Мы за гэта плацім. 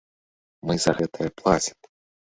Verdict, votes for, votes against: rejected, 2, 3